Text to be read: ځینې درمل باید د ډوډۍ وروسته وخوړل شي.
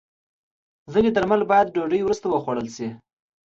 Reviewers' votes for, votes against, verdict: 2, 0, accepted